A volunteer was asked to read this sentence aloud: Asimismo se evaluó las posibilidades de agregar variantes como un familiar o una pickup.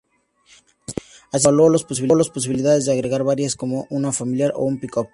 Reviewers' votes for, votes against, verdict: 0, 2, rejected